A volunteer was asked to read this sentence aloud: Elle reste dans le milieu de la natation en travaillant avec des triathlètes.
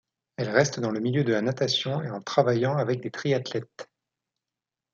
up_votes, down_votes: 1, 2